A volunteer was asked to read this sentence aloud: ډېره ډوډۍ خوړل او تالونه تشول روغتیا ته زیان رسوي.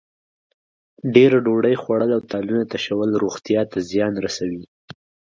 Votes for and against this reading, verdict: 2, 0, accepted